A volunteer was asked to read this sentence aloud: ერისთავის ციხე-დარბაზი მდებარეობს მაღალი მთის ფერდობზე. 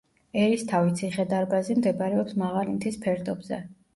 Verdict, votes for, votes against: rejected, 1, 2